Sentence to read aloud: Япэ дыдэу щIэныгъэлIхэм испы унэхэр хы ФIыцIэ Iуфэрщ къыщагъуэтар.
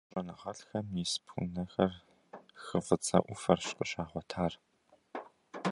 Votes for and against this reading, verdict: 0, 2, rejected